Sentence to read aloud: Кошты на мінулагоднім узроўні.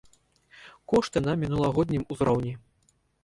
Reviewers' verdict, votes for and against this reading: rejected, 1, 2